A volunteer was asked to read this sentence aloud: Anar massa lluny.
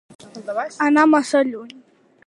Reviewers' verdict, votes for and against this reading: accepted, 2, 0